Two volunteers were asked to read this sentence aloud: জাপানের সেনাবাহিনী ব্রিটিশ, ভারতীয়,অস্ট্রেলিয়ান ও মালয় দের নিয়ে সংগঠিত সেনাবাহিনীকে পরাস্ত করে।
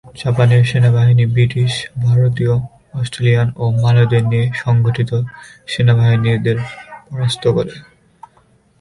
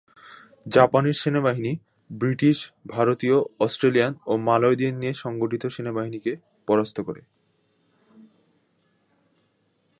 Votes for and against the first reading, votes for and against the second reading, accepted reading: 0, 2, 2, 0, second